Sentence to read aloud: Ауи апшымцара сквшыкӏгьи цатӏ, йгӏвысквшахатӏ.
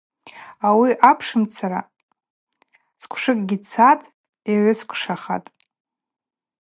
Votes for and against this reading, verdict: 2, 0, accepted